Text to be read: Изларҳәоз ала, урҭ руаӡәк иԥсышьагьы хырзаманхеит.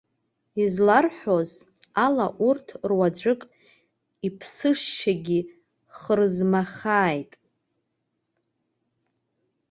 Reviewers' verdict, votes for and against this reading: rejected, 0, 2